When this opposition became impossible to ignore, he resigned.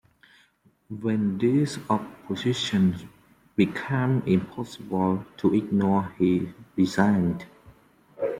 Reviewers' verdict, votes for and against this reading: accepted, 2, 1